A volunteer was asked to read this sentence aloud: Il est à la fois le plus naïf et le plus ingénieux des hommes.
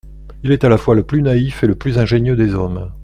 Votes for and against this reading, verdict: 2, 0, accepted